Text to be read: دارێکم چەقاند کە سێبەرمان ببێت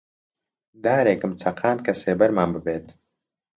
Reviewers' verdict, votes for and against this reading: accepted, 2, 0